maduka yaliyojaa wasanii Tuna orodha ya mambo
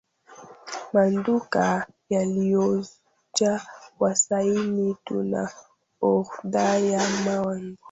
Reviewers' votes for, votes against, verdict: 0, 2, rejected